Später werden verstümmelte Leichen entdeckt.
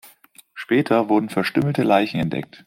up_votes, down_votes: 2, 0